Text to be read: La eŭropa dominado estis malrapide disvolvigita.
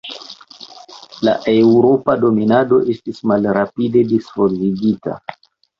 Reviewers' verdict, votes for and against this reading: accepted, 2, 1